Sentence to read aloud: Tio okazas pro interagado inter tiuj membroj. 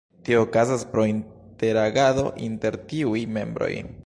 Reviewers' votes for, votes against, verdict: 2, 0, accepted